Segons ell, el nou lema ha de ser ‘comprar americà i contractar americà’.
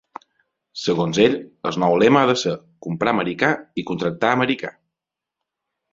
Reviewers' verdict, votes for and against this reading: accepted, 2, 0